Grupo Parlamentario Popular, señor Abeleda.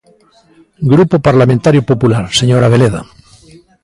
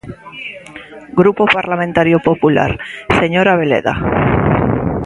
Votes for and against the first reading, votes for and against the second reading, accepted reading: 1, 2, 2, 0, second